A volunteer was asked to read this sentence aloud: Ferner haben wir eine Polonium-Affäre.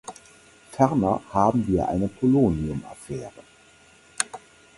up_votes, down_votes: 4, 0